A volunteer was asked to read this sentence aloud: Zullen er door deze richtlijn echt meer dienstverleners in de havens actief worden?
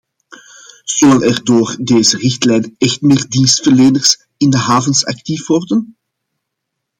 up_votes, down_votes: 2, 0